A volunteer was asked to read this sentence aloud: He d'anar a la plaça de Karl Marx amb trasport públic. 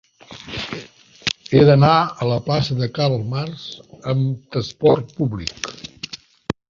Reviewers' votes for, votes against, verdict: 2, 0, accepted